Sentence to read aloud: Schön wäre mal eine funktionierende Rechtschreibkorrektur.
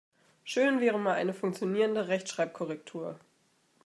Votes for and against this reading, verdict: 2, 0, accepted